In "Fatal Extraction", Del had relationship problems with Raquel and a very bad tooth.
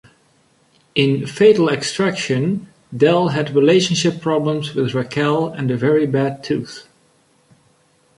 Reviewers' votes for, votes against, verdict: 2, 0, accepted